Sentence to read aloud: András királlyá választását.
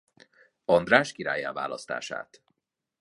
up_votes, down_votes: 2, 0